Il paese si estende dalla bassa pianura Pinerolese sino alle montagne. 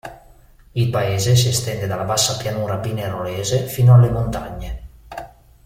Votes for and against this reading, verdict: 0, 3, rejected